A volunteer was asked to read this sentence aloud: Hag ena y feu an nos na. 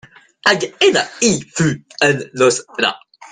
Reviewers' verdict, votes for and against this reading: rejected, 1, 2